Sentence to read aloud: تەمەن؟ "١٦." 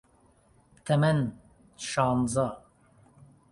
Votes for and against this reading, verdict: 0, 2, rejected